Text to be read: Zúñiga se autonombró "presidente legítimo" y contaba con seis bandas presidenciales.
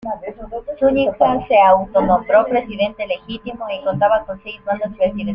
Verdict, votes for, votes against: rejected, 1, 2